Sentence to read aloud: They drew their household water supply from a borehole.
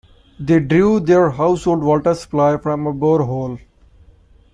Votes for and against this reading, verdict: 1, 2, rejected